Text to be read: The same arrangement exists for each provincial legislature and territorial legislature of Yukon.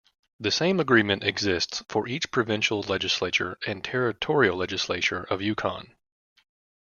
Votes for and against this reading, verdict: 1, 2, rejected